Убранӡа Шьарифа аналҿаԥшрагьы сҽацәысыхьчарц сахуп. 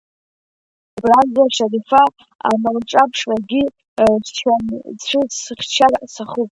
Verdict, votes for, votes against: rejected, 0, 2